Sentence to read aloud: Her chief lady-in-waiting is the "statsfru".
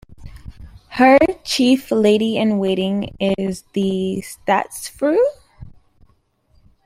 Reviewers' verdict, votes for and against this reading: accepted, 2, 0